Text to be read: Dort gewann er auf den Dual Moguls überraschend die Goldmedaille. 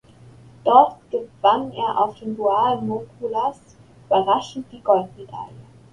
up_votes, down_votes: 0, 2